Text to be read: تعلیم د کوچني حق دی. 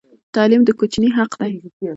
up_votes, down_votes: 2, 0